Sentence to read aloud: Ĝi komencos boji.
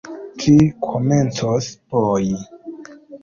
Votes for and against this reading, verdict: 2, 0, accepted